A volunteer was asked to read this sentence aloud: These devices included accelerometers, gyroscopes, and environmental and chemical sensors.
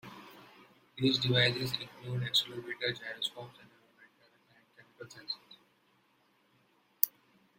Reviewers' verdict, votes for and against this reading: rejected, 0, 2